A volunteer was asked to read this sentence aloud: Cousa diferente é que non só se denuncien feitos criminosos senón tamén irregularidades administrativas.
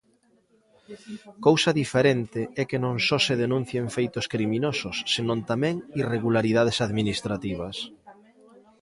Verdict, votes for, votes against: rejected, 0, 2